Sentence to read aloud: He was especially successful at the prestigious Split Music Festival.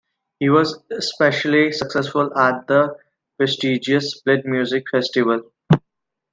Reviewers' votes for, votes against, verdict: 2, 0, accepted